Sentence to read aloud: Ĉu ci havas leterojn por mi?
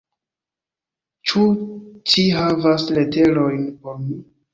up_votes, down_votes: 0, 2